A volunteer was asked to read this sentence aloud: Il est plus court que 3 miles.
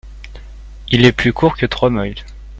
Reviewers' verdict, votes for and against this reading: rejected, 0, 2